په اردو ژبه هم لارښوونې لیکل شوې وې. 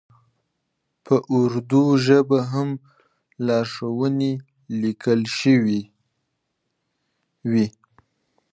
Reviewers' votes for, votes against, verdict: 1, 2, rejected